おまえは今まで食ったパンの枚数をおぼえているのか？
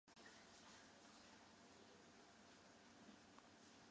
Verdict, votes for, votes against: rejected, 9, 35